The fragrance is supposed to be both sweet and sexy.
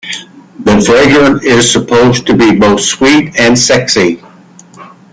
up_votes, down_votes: 2, 1